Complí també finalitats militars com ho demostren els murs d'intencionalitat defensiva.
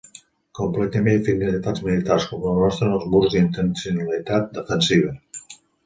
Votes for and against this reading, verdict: 0, 2, rejected